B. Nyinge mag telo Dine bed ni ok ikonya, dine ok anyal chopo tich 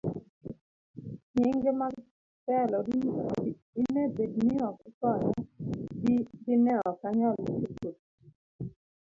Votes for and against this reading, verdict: 0, 2, rejected